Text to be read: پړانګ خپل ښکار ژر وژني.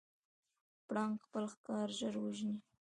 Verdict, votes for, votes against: rejected, 1, 2